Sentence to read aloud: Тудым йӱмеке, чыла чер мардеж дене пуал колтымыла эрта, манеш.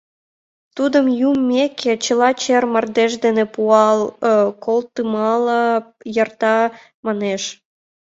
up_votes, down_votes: 0, 2